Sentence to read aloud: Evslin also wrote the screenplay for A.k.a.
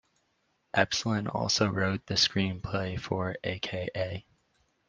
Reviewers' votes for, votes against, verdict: 2, 0, accepted